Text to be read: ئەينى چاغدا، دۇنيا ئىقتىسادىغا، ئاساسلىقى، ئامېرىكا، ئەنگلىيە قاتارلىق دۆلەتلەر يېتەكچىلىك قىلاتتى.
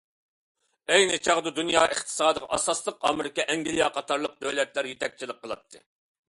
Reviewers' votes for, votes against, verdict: 2, 0, accepted